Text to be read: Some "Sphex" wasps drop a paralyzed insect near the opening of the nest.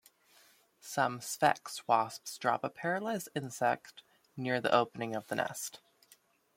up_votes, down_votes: 1, 2